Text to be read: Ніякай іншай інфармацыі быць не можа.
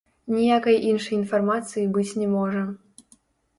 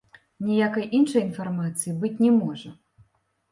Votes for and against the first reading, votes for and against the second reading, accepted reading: 0, 2, 2, 0, second